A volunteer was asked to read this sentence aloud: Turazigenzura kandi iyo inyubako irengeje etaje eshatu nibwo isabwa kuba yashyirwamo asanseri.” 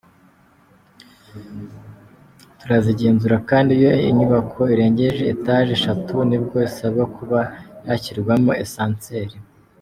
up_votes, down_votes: 2, 0